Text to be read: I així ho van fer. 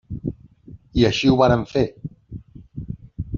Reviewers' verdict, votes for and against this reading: rejected, 0, 2